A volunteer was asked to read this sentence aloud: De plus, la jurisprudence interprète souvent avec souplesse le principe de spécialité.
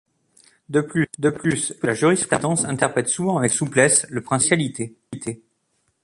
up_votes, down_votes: 0, 2